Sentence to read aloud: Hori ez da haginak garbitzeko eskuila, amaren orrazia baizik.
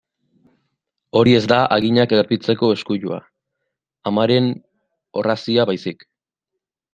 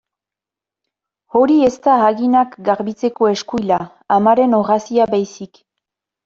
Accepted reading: second